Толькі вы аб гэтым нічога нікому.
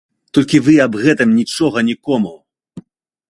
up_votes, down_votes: 2, 0